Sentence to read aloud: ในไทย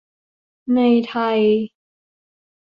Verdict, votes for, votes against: accepted, 2, 0